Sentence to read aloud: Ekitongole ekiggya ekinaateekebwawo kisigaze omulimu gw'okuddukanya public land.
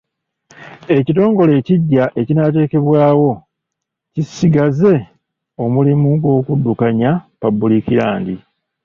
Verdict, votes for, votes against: accepted, 2, 0